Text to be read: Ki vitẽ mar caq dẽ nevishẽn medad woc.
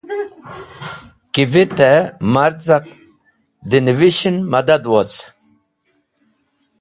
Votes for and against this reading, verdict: 0, 2, rejected